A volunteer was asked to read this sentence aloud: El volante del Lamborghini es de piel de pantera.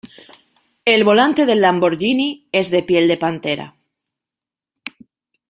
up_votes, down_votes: 2, 0